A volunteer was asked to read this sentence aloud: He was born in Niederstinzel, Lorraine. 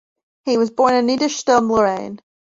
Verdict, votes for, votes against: rejected, 0, 2